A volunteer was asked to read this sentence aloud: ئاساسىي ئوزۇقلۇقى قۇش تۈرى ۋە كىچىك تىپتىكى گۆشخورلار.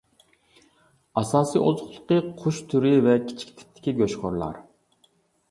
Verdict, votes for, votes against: accepted, 2, 0